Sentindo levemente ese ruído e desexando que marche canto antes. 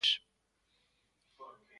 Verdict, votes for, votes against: rejected, 0, 2